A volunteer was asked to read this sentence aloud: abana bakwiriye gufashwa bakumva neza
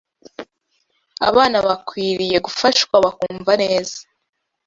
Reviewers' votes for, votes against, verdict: 2, 0, accepted